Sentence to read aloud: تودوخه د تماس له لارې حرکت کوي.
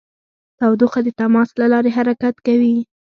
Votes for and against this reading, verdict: 2, 0, accepted